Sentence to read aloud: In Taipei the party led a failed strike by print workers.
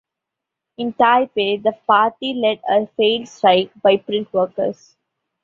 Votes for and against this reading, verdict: 2, 0, accepted